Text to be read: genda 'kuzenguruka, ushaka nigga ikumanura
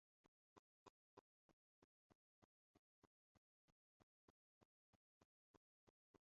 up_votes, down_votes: 1, 2